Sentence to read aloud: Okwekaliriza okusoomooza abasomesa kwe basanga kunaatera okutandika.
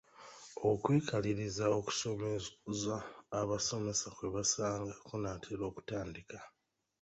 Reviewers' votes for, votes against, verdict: 0, 2, rejected